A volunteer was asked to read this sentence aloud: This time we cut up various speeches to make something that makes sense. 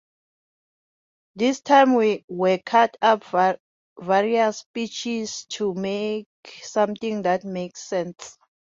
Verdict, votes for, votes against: rejected, 0, 2